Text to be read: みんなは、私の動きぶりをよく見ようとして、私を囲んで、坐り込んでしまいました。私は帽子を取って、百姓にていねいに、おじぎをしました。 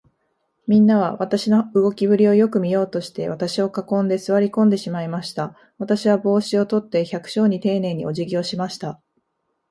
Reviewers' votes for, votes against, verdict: 2, 0, accepted